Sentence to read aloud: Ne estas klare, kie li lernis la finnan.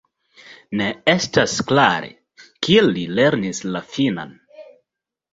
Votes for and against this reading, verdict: 2, 0, accepted